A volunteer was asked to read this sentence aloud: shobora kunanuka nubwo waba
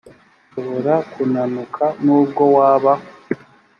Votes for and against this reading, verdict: 2, 0, accepted